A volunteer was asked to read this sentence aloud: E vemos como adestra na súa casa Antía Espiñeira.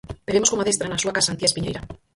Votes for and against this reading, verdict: 2, 4, rejected